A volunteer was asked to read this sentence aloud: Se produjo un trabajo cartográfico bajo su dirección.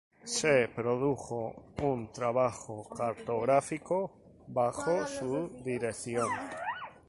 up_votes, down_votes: 2, 2